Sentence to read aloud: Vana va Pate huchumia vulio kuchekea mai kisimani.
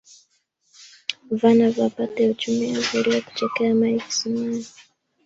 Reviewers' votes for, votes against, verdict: 2, 0, accepted